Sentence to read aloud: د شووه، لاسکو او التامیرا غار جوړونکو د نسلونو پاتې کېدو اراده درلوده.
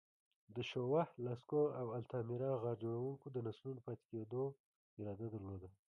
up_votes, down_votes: 2, 0